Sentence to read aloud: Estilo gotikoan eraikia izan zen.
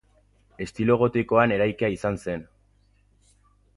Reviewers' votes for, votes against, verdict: 4, 0, accepted